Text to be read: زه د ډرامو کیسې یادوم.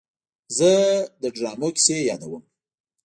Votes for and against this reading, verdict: 0, 2, rejected